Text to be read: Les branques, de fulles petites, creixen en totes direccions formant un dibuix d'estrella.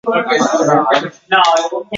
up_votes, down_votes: 0, 2